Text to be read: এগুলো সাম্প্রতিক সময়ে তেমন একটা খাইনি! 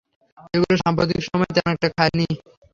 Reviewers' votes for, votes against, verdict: 0, 3, rejected